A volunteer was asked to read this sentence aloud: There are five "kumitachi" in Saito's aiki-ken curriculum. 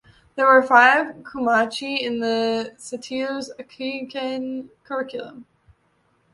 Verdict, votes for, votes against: rejected, 1, 2